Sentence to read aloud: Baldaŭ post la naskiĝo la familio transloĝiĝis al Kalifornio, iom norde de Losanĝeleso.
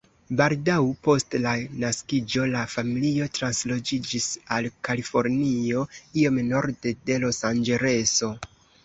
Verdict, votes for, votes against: rejected, 0, 2